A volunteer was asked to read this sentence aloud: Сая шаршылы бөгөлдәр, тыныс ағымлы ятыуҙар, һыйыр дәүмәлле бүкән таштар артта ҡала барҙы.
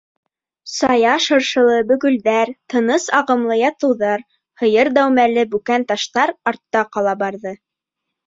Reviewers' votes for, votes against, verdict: 1, 2, rejected